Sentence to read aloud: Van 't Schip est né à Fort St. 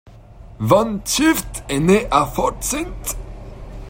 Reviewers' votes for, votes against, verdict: 0, 2, rejected